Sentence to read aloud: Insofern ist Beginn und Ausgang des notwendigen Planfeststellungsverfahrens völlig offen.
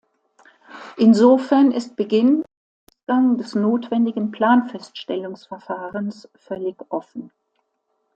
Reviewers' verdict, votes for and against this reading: rejected, 0, 2